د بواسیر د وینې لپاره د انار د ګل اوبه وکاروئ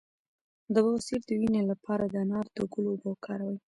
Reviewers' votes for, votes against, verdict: 1, 2, rejected